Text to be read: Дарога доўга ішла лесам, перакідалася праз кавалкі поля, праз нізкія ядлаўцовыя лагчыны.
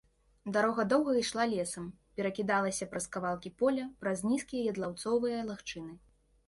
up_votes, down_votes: 2, 0